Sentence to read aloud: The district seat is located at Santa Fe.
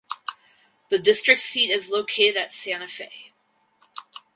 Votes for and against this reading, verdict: 4, 0, accepted